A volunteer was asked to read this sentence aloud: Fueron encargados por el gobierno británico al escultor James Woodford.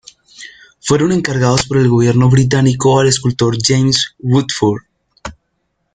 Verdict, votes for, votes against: accepted, 2, 0